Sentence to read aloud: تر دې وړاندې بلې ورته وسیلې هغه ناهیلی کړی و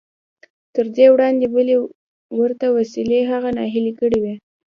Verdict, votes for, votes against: accepted, 2, 0